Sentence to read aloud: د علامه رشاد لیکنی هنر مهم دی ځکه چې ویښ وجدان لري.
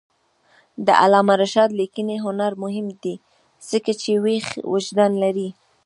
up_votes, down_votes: 0, 2